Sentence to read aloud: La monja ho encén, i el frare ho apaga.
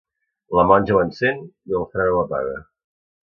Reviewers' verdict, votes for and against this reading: accepted, 2, 1